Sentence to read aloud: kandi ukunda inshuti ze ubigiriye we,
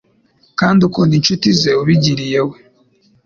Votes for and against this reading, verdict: 2, 0, accepted